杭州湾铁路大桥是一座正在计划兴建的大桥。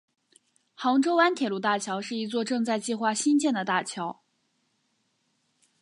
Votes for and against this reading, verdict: 2, 0, accepted